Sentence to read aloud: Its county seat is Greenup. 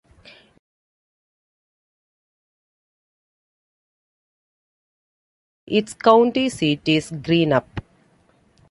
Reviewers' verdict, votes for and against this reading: accepted, 2, 1